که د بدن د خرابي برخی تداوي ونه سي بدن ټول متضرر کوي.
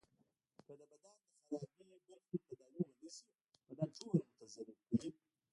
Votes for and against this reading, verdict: 1, 2, rejected